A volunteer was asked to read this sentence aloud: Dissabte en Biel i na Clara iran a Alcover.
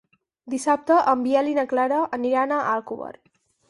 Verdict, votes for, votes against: rejected, 2, 4